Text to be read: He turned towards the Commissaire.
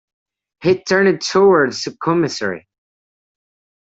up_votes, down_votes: 1, 2